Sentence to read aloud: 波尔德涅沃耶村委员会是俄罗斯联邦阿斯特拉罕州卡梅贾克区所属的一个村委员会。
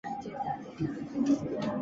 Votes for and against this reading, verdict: 0, 2, rejected